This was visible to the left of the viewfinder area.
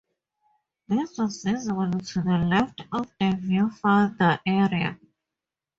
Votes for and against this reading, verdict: 2, 0, accepted